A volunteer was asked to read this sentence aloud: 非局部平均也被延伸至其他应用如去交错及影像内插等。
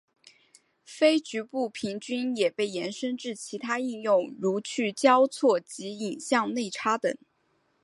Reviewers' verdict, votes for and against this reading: accepted, 2, 0